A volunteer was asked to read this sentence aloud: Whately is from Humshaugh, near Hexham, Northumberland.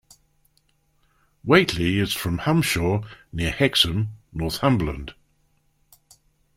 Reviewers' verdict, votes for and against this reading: accepted, 2, 0